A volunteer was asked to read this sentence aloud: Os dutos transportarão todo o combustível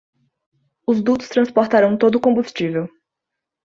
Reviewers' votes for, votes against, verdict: 3, 0, accepted